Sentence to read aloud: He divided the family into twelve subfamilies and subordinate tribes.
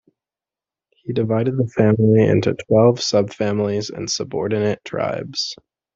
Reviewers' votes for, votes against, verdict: 2, 0, accepted